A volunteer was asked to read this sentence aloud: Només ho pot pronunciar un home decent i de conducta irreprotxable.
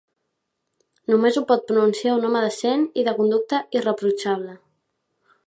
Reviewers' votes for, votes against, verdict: 3, 0, accepted